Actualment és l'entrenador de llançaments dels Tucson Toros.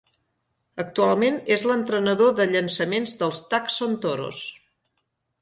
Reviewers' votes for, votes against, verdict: 2, 0, accepted